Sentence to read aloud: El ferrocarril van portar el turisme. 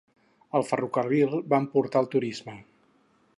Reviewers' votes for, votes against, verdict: 4, 0, accepted